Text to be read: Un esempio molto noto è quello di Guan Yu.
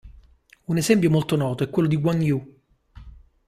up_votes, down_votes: 2, 0